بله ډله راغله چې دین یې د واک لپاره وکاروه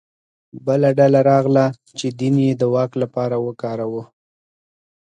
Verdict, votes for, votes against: accepted, 2, 0